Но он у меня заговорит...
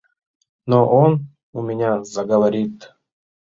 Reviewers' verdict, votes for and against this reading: rejected, 1, 2